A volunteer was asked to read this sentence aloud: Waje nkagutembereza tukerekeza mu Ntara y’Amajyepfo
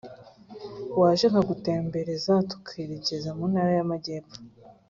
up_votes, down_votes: 3, 0